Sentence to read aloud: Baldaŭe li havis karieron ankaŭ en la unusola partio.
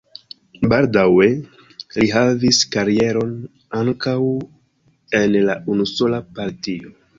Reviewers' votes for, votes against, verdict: 1, 2, rejected